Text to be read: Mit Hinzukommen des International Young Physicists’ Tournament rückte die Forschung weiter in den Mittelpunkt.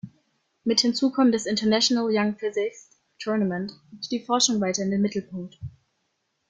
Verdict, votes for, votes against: rejected, 0, 3